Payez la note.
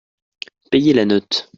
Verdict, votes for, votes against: accepted, 2, 0